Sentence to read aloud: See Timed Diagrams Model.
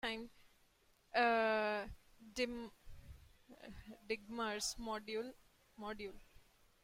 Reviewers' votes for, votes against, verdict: 0, 2, rejected